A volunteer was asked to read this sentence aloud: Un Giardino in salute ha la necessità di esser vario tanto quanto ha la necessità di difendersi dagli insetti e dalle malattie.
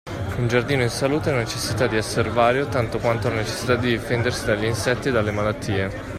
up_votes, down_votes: 1, 2